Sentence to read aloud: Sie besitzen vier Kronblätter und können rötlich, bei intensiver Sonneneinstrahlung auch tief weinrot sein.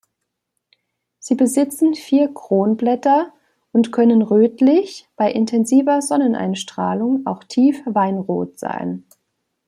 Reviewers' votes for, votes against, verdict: 2, 0, accepted